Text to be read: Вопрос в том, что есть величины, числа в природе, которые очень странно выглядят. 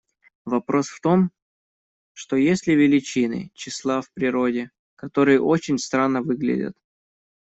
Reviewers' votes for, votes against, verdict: 1, 2, rejected